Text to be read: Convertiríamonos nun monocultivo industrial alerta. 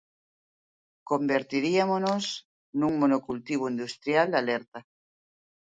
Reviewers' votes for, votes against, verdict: 2, 0, accepted